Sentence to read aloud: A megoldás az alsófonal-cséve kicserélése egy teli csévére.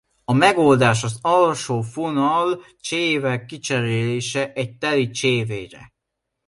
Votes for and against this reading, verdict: 2, 0, accepted